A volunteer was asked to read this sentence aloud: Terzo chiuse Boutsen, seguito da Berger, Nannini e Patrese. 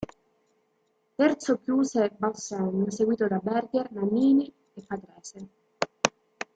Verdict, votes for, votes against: rejected, 1, 2